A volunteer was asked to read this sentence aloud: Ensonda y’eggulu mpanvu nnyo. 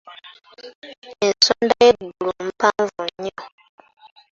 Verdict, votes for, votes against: accepted, 2, 0